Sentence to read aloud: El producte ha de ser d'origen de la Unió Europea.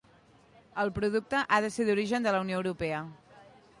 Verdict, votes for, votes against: accepted, 2, 0